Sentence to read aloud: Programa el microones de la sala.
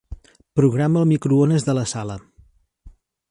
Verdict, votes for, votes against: accepted, 4, 0